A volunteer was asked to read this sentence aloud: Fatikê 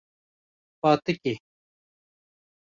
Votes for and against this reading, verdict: 2, 0, accepted